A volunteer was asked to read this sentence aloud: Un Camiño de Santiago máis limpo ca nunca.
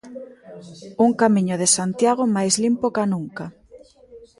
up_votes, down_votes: 2, 0